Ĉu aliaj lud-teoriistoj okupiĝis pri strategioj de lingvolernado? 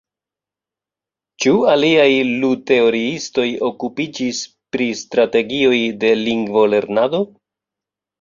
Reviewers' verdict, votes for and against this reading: rejected, 1, 2